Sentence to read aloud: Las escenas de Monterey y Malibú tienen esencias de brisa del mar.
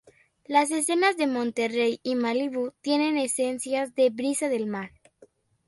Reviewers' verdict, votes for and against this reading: accepted, 2, 1